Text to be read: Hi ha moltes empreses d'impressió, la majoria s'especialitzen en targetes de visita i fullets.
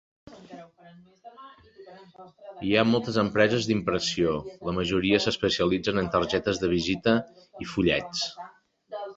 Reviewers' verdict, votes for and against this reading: rejected, 1, 2